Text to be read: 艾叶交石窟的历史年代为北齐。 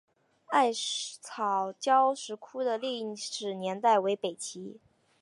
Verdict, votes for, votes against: accepted, 2, 0